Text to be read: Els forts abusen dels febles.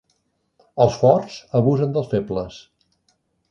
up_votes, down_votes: 3, 0